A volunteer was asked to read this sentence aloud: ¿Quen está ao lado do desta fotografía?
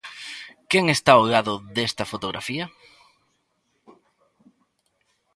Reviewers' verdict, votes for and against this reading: rejected, 1, 2